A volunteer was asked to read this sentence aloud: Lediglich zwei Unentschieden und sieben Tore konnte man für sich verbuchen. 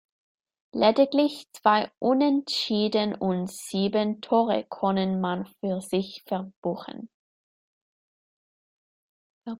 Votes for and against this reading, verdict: 0, 2, rejected